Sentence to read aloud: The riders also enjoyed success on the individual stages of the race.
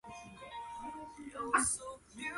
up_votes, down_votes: 0, 2